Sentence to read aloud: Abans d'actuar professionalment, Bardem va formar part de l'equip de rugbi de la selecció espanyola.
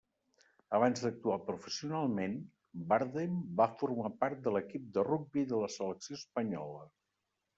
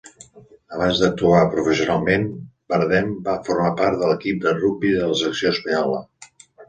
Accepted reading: second